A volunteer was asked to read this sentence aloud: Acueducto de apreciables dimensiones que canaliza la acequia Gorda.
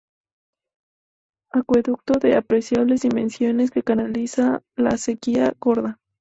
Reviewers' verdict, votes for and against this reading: accepted, 2, 0